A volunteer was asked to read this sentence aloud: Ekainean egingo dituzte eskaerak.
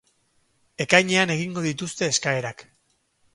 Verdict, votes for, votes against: accepted, 4, 0